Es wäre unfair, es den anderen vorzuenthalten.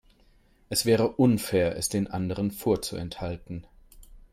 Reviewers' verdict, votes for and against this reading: accepted, 4, 0